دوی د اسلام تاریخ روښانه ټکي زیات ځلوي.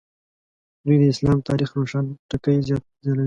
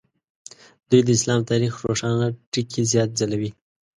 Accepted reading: second